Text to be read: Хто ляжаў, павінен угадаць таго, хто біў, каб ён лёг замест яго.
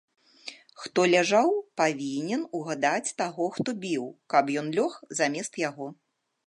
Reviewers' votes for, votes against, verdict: 2, 0, accepted